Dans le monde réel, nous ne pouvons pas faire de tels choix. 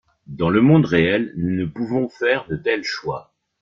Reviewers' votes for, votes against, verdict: 0, 2, rejected